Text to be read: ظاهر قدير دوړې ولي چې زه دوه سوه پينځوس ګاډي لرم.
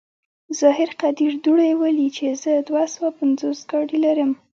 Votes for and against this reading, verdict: 2, 0, accepted